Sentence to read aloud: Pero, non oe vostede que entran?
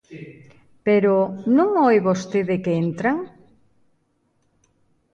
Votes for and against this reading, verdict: 2, 0, accepted